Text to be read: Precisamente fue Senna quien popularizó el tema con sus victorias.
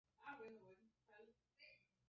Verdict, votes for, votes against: rejected, 0, 2